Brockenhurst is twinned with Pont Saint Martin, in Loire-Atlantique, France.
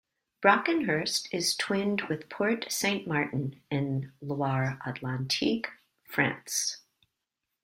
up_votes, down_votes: 1, 2